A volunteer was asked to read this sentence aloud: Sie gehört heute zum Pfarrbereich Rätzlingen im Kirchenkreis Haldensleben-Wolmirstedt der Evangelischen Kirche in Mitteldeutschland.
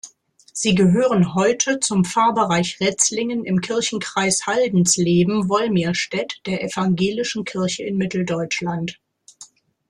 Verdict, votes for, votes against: rejected, 0, 2